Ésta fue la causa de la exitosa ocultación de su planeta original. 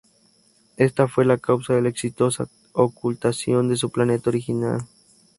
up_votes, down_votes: 2, 0